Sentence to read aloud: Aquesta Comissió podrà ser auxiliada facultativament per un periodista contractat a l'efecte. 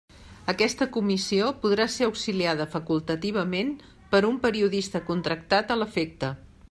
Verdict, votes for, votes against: accepted, 3, 0